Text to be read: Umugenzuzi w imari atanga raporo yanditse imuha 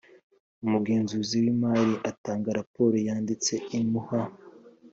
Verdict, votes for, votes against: accepted, 3, 0